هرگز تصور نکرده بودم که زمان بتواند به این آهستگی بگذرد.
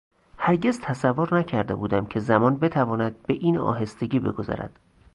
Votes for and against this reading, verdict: 2, 0, accepted